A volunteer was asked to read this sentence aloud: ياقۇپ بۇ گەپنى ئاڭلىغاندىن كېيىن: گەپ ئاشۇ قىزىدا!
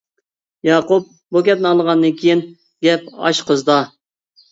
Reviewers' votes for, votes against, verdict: 2, 1, accepted